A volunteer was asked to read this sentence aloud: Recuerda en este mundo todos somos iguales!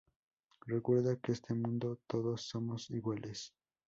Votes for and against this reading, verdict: 0, 4, rejected